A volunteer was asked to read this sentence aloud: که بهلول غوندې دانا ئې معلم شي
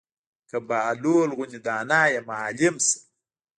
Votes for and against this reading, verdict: 1, 2, rejected